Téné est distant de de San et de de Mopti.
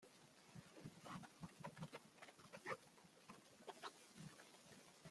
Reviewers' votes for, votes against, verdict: 0, 2, rejected